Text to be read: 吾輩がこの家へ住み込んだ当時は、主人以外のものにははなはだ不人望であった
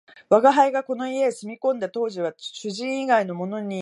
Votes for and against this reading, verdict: 4, 14, rejected